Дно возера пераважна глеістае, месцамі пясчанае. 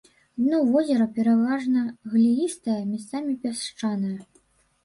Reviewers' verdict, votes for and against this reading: rejected, 0, 2